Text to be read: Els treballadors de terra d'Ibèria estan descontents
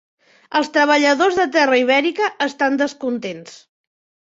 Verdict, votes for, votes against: rejected, 0, 2